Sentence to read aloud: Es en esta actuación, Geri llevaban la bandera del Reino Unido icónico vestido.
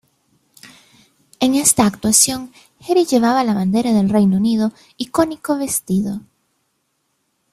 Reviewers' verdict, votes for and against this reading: rejected, 1, 2